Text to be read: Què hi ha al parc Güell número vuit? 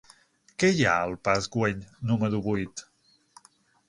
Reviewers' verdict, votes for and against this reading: accepted, 6, 0